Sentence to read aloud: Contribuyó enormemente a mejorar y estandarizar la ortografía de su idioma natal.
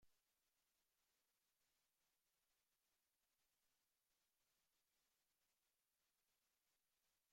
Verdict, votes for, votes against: rejected, 0, 2